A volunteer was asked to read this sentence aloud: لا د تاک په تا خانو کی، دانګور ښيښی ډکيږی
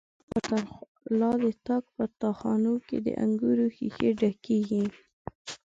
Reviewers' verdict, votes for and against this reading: rejected, 2, 3